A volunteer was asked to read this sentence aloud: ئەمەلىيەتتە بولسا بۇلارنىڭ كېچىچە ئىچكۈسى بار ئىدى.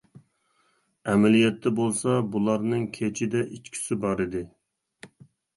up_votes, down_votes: 1, 2